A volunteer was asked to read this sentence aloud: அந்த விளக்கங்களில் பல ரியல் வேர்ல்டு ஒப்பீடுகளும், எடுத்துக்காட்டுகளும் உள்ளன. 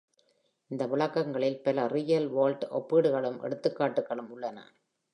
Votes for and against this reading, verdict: 2, 0, accepted